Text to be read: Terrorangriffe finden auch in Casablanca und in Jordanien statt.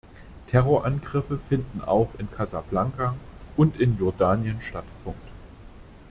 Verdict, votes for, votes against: rejected, 1, 2